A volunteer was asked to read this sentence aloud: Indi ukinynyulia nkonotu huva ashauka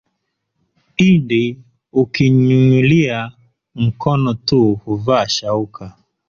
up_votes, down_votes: 1, 2